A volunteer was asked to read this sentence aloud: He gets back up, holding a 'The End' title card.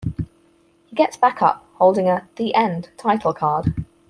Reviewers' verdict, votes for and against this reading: accepted, 4, 0